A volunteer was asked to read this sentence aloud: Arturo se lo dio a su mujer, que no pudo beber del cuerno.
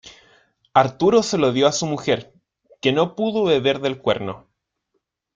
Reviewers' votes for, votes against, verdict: 2, 0, accepted